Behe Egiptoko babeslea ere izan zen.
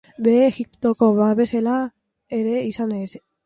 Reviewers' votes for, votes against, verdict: 0, 2, rejected